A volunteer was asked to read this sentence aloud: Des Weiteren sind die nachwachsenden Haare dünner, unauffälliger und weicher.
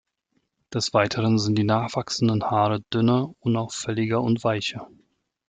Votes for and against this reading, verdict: 2, 0, accepted